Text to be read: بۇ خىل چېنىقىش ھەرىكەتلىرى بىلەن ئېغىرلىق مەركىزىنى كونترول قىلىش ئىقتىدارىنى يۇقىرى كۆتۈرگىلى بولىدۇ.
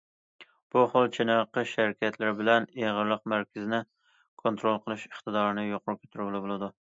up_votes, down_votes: 2, 0